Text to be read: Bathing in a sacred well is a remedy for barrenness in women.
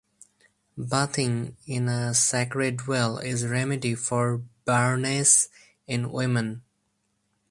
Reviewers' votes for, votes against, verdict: 4, 2, accepted